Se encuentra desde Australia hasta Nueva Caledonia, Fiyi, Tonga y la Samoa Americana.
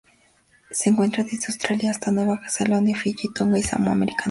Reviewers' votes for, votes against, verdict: 0, 2, rejected